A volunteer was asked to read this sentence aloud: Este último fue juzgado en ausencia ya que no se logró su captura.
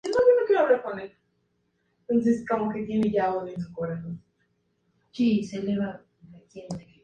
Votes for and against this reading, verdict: 0, 2, rejected